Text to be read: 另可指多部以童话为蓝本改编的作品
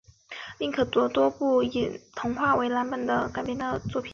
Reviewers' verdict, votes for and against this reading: accepted, 3, 0